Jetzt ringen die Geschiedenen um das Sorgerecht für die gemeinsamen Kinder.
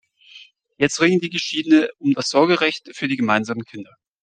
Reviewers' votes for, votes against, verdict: 0, 2, rejected